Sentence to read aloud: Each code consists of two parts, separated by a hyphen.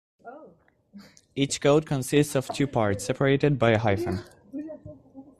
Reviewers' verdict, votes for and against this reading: rejected, 0, 2